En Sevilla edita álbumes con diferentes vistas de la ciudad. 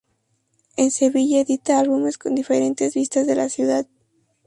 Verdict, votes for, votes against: accepted, 2, 0